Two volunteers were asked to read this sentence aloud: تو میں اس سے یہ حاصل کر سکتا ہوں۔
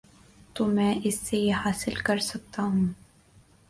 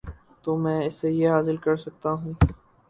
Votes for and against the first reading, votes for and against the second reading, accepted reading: 3, 0, 0, 2, first